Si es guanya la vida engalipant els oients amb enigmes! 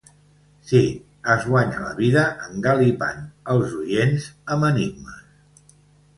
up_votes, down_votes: 1, 2